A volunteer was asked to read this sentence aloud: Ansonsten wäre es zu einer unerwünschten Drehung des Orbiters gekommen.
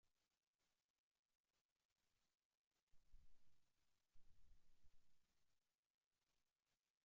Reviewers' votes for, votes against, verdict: 0, 2, rejected